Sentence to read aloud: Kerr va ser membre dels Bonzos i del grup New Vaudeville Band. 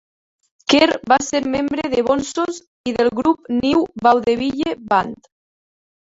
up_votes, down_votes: 2, 3